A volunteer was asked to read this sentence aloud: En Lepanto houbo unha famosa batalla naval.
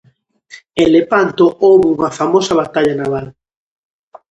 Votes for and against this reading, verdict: 2, 0, accepted